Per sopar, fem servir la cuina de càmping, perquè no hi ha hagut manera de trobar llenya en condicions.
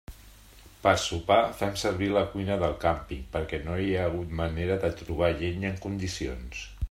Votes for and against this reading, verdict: 2, 0, accepted